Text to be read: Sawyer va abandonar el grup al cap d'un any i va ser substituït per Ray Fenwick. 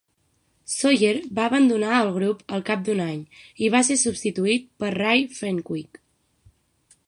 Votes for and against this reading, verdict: 6, 0, accepted